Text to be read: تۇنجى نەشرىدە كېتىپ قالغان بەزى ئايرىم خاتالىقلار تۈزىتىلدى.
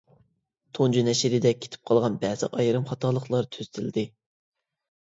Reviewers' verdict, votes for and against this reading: rejected, 0, 2